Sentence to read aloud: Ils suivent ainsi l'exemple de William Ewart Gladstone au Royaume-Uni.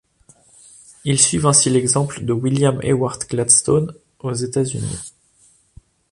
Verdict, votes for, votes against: rejected, 1, 2